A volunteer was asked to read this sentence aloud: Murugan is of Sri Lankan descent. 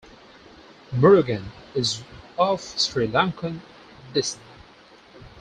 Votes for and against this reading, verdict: 2, 4, rejected